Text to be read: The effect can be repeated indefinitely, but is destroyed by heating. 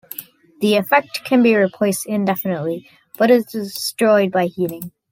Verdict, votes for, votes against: rejected, 0, 2